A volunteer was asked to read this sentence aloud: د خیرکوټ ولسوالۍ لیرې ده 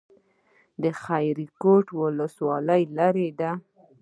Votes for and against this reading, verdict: 1, 2, rejected